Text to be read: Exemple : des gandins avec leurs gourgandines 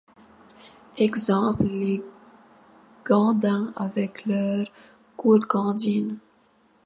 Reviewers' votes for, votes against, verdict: 0, 2, rejected